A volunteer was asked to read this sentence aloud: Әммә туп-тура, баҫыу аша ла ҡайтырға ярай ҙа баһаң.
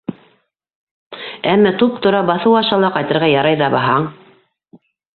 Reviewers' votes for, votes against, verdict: 2, 0, accepted